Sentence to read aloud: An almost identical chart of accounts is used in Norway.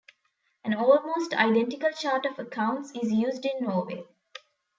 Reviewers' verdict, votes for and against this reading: accepted, 2, 0